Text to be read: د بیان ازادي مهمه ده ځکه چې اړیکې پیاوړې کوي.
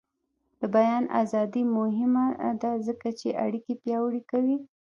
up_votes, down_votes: 1, 2